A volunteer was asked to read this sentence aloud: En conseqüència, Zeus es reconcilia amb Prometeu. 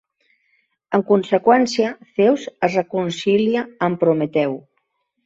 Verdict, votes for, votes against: rejected, 2, 3